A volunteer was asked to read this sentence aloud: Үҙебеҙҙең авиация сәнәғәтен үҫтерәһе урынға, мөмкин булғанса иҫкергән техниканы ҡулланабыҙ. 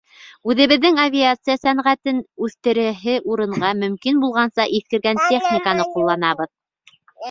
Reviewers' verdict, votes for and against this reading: rejected, 0, 2